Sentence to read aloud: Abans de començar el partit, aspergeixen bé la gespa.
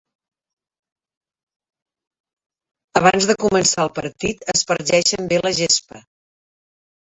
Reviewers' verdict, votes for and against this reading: rejected, 1, 2